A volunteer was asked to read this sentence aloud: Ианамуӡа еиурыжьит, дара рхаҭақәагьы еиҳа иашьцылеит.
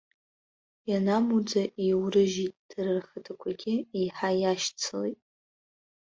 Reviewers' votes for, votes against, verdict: 2, 1, accepted